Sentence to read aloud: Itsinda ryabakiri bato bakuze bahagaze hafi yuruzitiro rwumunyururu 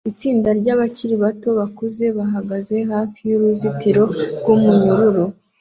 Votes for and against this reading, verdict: 2, 0, accepted